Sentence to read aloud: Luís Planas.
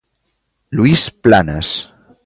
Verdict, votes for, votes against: accepted, 2, 1